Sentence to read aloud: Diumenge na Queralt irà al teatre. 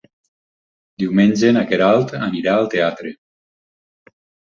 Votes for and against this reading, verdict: 2, 4, rejected